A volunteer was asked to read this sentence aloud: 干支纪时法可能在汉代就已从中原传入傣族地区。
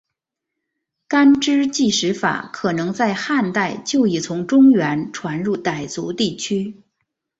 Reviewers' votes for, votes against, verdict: 4, 0, accepted